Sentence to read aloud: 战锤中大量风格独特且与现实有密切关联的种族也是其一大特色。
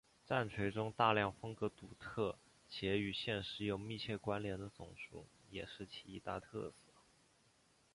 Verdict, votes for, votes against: rejected, 0, 2